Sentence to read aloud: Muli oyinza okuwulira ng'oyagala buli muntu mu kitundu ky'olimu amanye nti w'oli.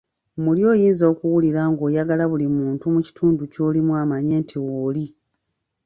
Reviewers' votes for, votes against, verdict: 1, 2, rejected